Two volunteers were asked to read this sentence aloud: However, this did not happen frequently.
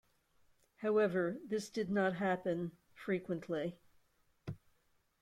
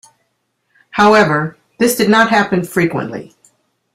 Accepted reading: second